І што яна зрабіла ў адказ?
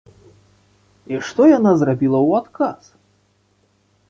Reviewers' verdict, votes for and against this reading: accepted, 3, 0